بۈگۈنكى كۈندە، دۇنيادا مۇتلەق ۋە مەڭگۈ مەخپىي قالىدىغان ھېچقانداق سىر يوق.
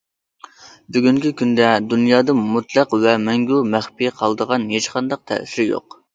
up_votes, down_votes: 1, 2